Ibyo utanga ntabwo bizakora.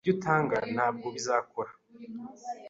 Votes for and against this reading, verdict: 2, 0, accepted